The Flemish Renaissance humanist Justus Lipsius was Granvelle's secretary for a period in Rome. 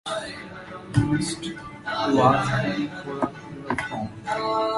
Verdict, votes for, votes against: rejected, 1, 2